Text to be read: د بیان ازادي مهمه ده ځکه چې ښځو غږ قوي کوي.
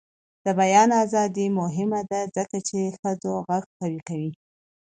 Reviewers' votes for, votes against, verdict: 2, 0, accepted